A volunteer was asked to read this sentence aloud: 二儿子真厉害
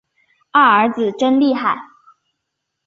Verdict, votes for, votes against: accepted, 2, 0